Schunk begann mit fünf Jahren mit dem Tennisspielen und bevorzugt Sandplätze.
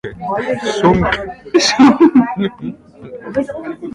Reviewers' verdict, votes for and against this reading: rejected, 0, 2